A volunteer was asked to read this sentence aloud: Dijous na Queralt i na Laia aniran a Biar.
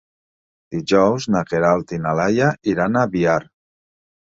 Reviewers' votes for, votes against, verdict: 0, 2, rejected